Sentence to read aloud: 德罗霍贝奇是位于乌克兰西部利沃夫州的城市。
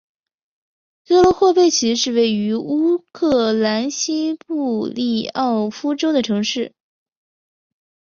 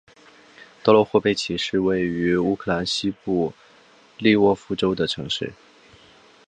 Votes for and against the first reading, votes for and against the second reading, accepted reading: 0, 2, 2, 0, second